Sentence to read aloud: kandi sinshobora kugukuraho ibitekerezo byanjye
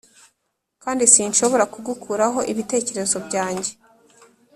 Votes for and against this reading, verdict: 3, 0, accepted